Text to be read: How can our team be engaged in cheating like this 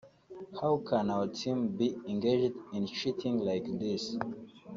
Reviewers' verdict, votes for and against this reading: rejected, 1, 3